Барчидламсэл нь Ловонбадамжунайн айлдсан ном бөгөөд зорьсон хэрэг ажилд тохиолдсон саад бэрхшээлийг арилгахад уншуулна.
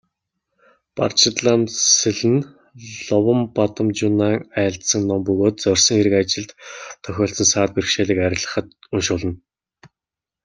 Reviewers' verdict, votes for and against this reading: rejected, 1, 2